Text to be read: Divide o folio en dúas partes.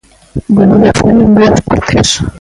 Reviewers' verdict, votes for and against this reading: rejected, 0, 2